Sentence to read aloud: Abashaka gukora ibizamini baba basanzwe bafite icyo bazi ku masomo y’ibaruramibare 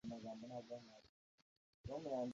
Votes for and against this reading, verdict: 0, 2, rejected